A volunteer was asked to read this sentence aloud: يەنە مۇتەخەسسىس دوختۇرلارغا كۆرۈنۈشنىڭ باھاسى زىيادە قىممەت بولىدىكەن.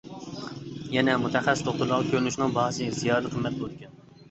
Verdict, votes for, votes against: rejected, 1, 2